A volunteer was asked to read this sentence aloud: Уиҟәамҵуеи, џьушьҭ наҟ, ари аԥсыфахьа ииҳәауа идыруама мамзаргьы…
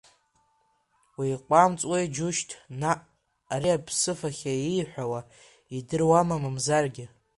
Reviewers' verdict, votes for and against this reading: accepted, 2, 1